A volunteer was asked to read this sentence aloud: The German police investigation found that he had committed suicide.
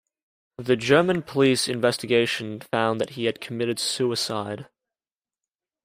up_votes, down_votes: 2, 0